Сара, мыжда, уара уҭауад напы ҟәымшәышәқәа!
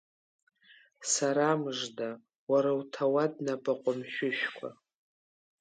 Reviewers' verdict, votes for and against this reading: accepted, 3, 0